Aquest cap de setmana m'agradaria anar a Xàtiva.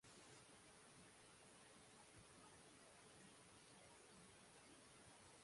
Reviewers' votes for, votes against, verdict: 0, 2, rejected